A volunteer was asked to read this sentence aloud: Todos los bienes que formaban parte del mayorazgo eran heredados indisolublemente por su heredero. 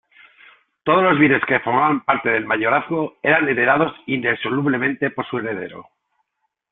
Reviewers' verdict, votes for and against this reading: rejected, 0, 2